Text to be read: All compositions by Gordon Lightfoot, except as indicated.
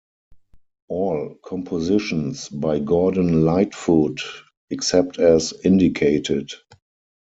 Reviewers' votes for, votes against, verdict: 4, 2, accepted